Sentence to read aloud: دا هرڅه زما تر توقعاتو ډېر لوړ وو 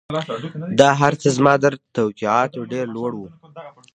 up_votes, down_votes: 0, 2